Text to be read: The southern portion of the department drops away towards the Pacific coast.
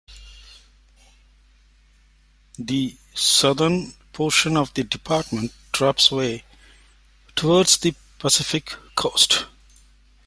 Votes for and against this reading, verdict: 2, 0, accepted